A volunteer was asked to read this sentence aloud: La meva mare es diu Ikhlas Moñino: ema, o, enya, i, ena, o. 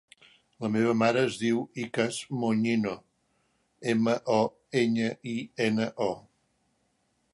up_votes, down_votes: 0, 2